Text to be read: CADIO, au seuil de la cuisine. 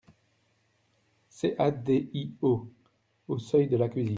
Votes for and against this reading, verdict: 1, 2, rejected